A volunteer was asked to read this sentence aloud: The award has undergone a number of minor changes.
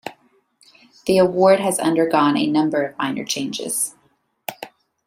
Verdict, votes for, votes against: accepted, 2, 0